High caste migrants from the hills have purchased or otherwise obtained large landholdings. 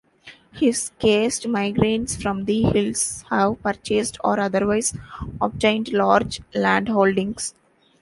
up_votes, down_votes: 0, 2